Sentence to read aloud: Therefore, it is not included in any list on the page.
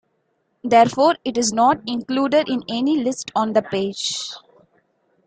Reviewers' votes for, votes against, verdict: 2, 0, accepted